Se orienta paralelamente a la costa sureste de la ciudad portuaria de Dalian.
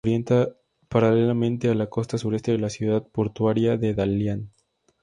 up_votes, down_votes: 2, 0